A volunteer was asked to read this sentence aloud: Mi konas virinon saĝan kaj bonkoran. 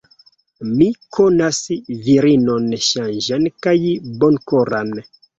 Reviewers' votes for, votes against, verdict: 1, 2, rejected